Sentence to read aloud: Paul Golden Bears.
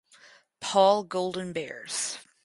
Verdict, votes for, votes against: accepted, 4, 0